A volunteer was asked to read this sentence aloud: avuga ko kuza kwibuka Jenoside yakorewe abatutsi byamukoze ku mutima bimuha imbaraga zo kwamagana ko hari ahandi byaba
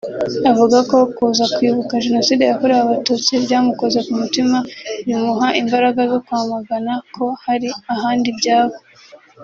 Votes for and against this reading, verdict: 0, 2, rejected